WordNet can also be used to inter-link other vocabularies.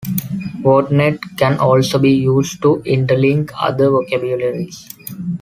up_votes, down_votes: 2, 0